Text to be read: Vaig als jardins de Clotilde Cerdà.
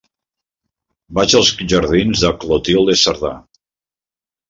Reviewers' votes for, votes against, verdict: 3, 0, accepted